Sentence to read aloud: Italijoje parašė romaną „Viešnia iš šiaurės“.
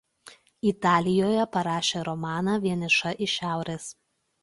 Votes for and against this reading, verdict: 0, 2, rejected